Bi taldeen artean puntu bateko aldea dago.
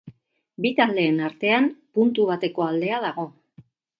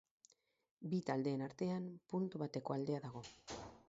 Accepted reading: first